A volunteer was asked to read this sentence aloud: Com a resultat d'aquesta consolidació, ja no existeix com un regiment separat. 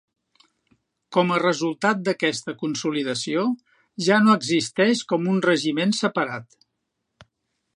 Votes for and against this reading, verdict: 5, 0, accepted